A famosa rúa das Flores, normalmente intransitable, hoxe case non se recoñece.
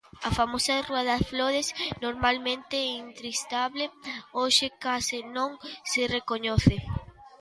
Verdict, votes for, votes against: rejected, 0, 2